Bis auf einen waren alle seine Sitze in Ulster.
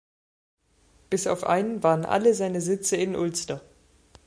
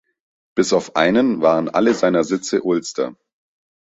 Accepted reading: first